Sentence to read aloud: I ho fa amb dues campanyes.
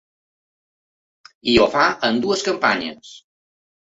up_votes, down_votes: 4, 0